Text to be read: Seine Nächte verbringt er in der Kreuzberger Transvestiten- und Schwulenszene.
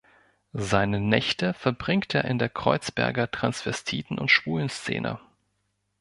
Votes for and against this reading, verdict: 2, 0, accepted